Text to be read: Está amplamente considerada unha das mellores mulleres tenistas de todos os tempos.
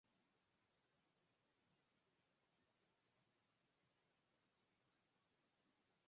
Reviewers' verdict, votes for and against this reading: rejected, 0, 4